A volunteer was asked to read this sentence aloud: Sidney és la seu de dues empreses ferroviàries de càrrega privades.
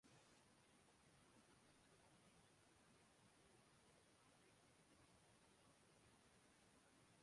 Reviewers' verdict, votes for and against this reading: rejected, 0, 2